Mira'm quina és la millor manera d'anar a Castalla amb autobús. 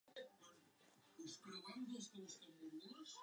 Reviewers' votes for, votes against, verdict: 0, 2, rejected